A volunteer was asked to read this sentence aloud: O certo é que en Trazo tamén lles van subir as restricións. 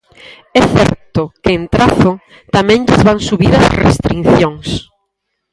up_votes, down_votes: 0, 4